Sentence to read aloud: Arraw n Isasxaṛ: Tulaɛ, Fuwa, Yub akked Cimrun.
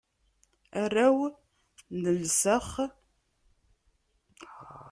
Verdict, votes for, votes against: rejected, 0, 2